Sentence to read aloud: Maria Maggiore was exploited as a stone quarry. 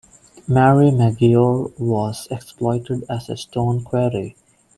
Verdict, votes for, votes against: rejected, 0, 2